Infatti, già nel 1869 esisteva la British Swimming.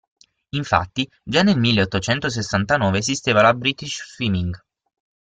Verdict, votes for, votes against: rejected, 0, 2